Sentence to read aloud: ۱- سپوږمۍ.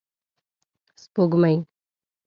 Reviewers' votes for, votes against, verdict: 0, 2, rejected